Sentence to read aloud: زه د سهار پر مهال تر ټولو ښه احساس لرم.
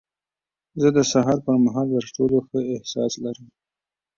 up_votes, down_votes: 2, 0